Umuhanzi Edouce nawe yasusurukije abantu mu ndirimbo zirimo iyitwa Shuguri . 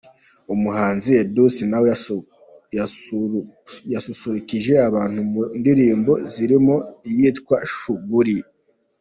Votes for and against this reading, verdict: 0, 2, rejected